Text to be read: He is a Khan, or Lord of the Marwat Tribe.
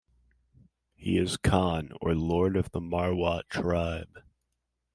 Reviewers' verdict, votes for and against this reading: rejected, 0, 2